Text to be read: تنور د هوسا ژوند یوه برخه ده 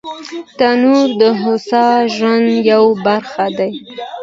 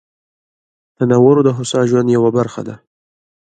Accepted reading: first